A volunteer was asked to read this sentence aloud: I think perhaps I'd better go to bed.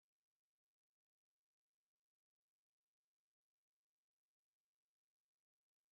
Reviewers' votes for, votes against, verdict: 0, 3, rejected